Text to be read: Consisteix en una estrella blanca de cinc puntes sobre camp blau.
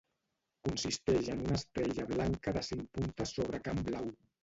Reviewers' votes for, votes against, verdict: 1, 2, rejected